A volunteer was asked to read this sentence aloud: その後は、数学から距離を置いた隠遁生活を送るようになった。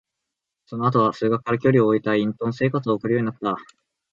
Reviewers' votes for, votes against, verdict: 2, 0, accepted